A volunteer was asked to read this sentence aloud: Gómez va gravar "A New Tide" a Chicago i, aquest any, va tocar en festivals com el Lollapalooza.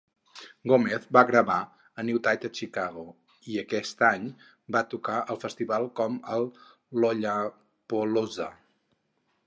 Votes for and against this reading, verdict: 0, 4, rejected